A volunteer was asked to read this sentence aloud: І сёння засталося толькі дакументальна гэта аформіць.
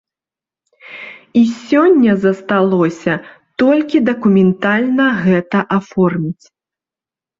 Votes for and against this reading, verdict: 1, 2, rejected